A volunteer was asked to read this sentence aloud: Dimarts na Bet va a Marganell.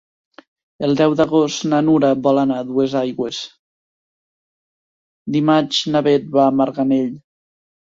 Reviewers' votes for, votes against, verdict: 0, 2, rejected